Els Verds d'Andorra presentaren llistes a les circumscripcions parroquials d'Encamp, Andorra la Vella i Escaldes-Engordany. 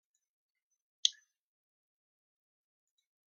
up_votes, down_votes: 1, 2